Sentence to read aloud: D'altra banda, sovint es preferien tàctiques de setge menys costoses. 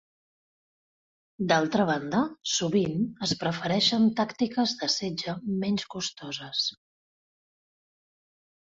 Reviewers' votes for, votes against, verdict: 1, 2, rejected